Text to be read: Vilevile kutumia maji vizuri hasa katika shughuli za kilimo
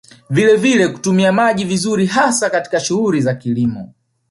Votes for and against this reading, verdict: 2, 1, accepted